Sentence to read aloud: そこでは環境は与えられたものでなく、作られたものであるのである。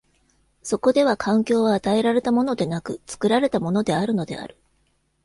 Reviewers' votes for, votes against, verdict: 2, 0, accepted